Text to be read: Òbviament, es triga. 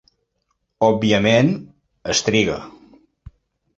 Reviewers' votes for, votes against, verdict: 6, 0, accepted